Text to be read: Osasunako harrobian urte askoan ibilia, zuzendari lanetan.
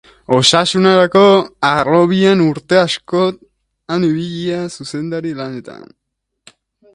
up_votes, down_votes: 1, 2